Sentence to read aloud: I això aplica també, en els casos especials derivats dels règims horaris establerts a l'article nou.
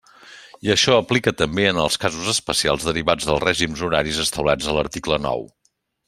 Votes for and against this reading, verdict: 2, 0, accepted